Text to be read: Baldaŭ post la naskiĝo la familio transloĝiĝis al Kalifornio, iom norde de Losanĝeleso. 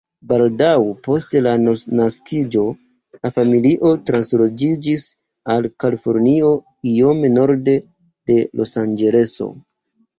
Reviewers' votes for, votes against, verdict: 2, 0, accepted